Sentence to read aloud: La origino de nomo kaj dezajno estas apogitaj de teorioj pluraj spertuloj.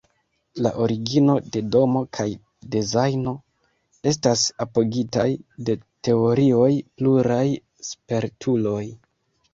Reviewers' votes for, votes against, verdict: 2, 0, accepted